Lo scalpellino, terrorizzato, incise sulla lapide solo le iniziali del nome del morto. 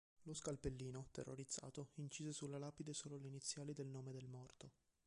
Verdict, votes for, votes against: rejected, 1, 2